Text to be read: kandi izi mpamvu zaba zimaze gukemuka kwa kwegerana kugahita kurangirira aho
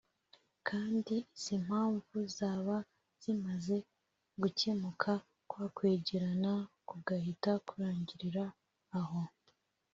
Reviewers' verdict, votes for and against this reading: accepted, 2, 0